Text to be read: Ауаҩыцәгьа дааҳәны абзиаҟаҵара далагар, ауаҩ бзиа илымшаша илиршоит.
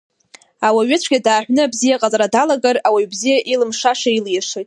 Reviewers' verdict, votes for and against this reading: rejected, 1, 2